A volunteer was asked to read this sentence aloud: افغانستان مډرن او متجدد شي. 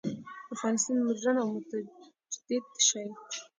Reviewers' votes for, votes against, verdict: 0, 2, rejected